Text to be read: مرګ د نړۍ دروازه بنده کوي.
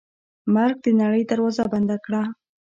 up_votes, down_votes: 2, 0